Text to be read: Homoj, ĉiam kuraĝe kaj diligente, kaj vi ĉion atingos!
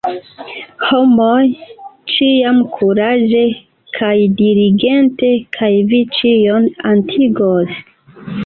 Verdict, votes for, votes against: rejected, 0, 2